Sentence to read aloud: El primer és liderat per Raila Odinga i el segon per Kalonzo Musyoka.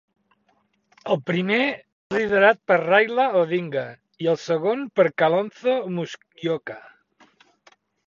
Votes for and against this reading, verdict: 0, 3, rejected